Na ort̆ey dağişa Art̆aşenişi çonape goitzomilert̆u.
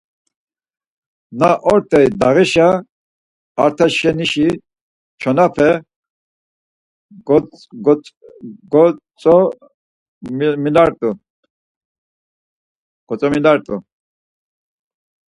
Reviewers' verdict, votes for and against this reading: rejected, 0, 4